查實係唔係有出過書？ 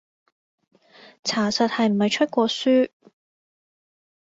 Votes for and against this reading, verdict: 1, 2, rejected